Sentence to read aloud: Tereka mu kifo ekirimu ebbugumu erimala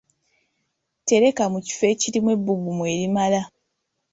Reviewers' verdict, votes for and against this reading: accepted, 2, 0